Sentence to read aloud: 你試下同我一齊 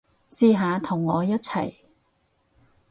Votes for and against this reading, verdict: 0, 4, rejected